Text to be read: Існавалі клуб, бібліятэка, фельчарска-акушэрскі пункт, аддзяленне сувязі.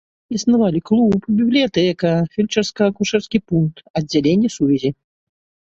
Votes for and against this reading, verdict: 2, 0, accepted